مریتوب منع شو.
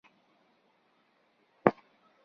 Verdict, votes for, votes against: rejected, 1, 2